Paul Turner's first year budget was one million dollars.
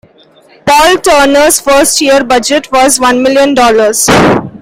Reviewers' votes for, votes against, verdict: 2, 0, accepted